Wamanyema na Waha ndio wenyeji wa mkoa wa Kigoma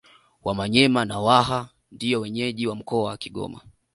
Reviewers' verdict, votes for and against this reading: accepted, 2, 0